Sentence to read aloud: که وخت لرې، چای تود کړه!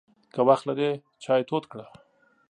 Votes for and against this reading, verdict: 2, 0, accepted